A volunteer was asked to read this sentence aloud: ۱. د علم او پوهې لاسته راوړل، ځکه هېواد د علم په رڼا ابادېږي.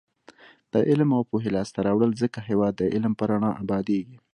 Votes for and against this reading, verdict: 0, 2, rejected